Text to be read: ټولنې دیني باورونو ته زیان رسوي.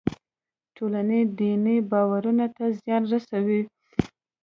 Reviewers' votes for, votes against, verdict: 1, 2, rejected